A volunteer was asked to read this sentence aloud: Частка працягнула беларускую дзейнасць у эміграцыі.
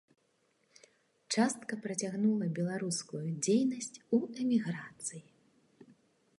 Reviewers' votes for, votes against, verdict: 2, 0, accepted